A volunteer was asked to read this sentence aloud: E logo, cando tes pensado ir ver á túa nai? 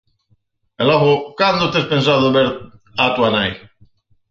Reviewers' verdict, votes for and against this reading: rejected, 0, 4